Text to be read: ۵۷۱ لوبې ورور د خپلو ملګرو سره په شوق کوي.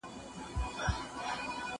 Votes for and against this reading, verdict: 0, 2, rejected